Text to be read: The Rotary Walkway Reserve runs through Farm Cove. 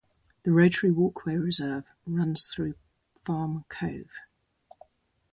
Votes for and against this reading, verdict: 2, 0, accepted